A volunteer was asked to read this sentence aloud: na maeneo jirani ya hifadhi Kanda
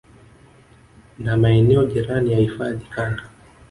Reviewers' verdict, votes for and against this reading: rejected, 0, 2